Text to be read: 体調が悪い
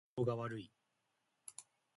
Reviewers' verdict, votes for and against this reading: rejected, 1, 2